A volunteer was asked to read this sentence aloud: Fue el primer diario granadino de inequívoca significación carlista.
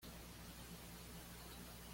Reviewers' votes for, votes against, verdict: 1, 2, rejected